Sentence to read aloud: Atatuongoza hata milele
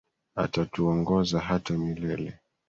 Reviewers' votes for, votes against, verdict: 2, 0, accepted